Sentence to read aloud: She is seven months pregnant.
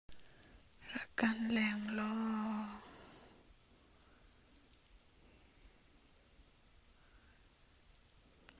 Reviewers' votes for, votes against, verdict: 0, 2, rejected